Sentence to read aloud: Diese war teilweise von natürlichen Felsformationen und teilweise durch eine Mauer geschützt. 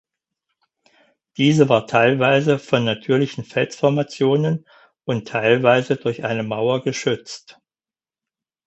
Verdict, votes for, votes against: accepted, 4, 0